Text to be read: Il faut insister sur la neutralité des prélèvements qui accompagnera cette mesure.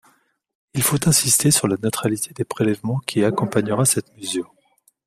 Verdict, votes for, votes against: rejected, 1, 2